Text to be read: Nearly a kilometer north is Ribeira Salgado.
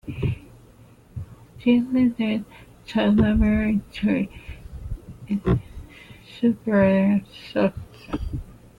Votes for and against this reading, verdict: 0, 2, rejected